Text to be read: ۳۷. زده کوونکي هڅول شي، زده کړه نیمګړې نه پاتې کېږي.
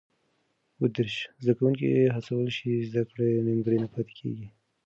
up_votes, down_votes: 0, 2